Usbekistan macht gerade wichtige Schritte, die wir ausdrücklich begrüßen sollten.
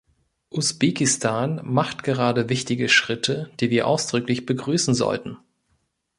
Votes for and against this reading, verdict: 2, 0, accepted